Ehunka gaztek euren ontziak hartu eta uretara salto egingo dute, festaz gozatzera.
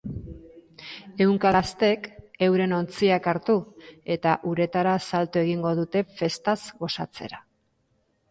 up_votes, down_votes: 2, 1